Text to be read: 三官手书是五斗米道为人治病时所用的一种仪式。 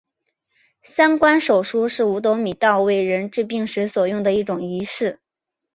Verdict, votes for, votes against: accepted, 2, 1